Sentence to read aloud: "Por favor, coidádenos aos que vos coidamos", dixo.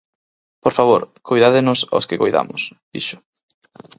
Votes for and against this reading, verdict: 0, 4, rejected